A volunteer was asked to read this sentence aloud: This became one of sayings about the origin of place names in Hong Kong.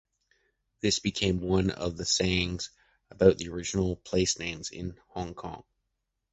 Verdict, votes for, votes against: rejected, 0, 2